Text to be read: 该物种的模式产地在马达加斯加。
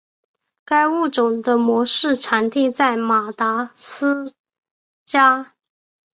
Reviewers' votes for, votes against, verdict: 0, 2, rejected